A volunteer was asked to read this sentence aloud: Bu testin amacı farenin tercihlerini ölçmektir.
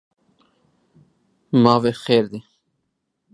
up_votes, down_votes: 1, 2